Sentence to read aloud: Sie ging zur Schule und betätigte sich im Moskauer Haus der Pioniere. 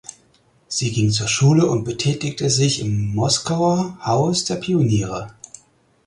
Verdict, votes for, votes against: accepted, 4, 0